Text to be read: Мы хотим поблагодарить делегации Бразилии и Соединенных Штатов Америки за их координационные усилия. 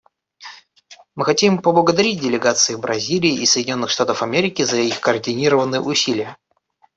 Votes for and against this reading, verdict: 0, 2, rejected